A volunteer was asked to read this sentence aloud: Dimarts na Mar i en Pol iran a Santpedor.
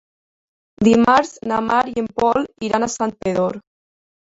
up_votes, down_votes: 3, 1